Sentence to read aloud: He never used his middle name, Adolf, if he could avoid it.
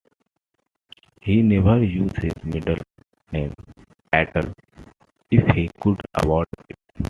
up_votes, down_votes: 1, 2